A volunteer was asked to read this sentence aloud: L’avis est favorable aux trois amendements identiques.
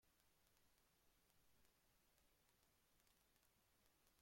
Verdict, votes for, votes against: rejected, 0, 2